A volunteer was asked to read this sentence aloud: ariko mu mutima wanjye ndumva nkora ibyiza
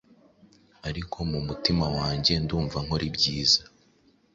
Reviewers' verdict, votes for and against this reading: accepted, 2, 0